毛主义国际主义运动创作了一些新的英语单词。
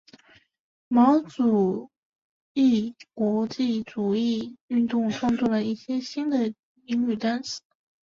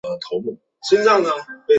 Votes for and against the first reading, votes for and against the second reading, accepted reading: 2, 0, 0, 3, first